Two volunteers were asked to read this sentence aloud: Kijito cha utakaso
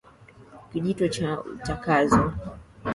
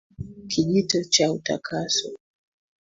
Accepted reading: second